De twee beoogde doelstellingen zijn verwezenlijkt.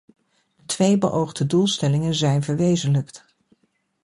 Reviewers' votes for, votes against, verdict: 0, 2, rejected